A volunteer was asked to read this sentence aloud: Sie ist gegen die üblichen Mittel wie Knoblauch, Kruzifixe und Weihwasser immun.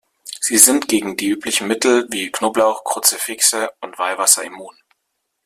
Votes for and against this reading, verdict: 0, 2, rejected